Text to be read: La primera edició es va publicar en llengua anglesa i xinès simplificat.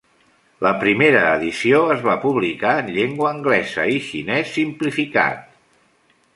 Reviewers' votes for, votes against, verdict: 1, 2, rejected